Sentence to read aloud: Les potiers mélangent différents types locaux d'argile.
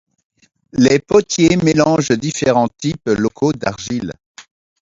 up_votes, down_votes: 0, 2